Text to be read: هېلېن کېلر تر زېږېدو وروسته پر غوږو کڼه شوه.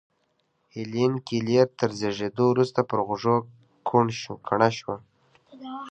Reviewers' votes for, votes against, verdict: 1, 2, rejected